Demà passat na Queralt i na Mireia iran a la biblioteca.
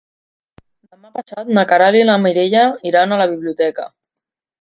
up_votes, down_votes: 0, 2